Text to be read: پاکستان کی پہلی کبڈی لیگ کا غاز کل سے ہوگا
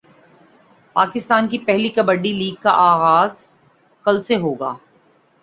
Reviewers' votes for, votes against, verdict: 2, 0, accepted